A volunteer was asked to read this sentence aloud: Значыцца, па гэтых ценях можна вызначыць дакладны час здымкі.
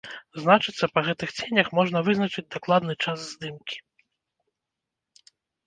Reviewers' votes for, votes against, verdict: 2, 0, accepted